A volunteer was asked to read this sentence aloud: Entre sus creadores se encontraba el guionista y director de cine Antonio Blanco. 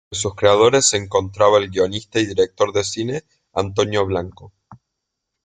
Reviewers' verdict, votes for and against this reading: rejected, 0, 2